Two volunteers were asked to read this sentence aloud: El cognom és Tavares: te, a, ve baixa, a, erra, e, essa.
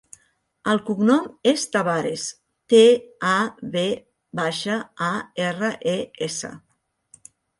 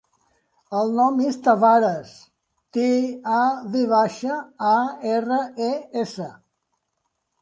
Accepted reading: first